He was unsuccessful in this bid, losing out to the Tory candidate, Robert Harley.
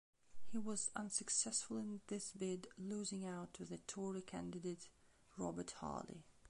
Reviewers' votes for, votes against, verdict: 2, 1, accepted